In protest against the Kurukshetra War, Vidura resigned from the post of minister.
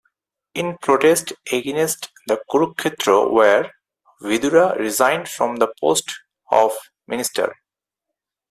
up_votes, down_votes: 4, 0